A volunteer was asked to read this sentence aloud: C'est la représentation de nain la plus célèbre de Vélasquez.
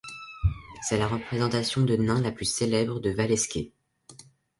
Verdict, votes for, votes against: rejected, 1, 3